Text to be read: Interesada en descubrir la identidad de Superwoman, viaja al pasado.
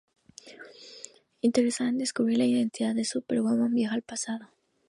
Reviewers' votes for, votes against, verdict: 2, 0, accepted